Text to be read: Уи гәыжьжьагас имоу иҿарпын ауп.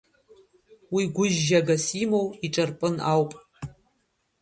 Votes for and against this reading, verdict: 0, 2, rejected